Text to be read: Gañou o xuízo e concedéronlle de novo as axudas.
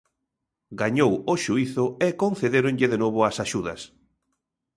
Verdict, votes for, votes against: accepted, 2, 0